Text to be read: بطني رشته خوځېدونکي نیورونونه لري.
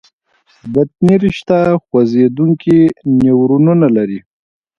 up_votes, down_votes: 2, 0